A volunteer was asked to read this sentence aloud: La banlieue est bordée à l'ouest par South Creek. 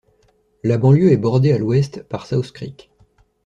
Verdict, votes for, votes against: accepted, 2, 0